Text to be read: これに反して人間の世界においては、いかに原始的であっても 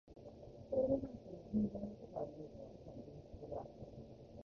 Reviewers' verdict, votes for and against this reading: rejected, 0, 2